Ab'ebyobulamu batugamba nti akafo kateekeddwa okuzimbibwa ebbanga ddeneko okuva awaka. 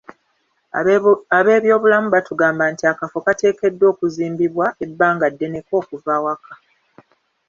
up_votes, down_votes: 1, 2